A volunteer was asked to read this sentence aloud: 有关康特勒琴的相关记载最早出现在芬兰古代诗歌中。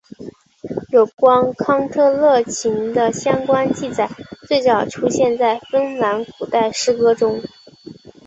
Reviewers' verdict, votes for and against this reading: accepted, 4, 0